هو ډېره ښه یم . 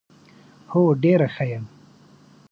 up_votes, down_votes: 2, 0